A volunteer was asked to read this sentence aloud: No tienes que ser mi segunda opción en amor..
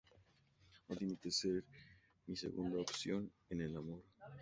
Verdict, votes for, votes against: rejected, 0, 4